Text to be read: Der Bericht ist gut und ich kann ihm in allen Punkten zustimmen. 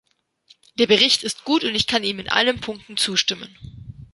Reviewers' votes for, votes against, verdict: 2, 0, accepted